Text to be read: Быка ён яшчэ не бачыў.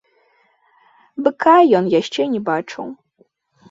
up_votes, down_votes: 2, 0